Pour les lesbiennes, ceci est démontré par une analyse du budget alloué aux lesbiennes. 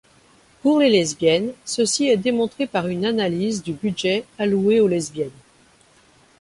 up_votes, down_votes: 2, 0